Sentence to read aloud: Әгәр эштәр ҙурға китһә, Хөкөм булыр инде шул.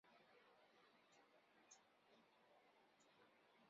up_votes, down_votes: 0, 3